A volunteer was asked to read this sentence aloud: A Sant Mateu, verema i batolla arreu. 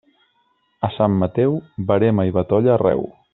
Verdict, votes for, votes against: accepted, 3, 0